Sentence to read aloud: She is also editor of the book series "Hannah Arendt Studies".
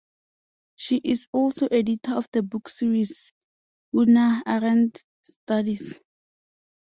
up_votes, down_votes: 0, 2